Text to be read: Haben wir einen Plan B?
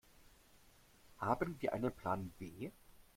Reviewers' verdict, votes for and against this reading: accepted, 2, 0